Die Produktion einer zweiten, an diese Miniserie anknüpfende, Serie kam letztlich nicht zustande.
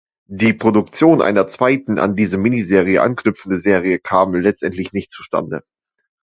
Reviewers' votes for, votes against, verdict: 0, 2, rejected